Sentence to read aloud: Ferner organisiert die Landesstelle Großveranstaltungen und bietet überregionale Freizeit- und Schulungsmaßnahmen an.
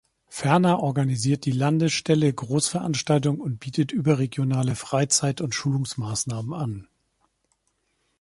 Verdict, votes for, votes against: rejected, 0, 2